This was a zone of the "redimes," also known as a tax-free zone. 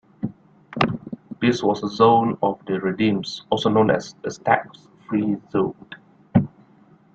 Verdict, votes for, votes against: rejected, 0, 2